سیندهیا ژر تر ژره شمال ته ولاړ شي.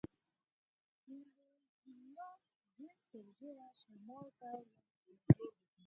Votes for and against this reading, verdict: 0, 6, rejected